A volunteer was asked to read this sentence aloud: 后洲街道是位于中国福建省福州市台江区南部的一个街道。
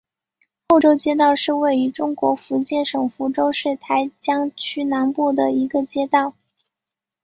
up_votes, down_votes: 2, 0